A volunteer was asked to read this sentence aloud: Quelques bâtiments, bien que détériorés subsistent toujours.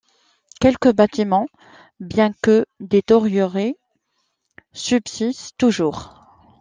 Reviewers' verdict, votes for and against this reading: rejected, 1, 2